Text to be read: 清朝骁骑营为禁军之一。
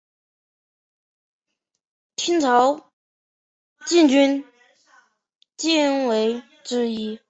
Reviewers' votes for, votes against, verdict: 0, 2, rejected